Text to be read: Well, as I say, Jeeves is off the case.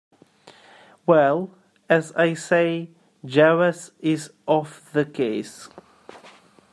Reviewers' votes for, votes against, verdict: 1, 2, rejected